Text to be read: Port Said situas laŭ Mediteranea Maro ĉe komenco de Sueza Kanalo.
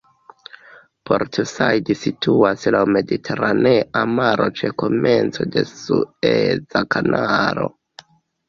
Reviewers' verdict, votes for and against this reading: accepted, 2, 1